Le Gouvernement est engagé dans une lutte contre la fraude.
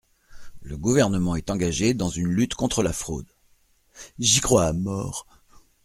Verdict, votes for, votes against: rejected, 0, 2